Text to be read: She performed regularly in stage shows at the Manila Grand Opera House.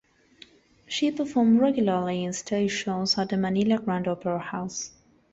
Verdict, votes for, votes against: accepted, 2, 1